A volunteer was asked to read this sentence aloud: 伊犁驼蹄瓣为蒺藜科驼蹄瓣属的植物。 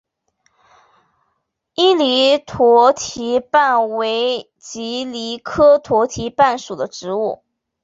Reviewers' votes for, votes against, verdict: 3, 0, accepted